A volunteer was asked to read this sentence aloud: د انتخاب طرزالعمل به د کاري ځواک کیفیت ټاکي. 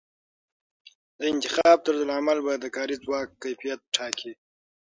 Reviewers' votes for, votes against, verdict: 3, 6, rejected